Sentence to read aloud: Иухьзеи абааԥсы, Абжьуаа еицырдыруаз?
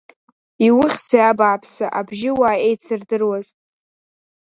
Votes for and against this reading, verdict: 1, 2, rejected